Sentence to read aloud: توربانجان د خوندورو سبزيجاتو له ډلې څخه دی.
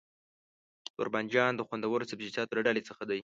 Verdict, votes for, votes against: accepted, 2, 1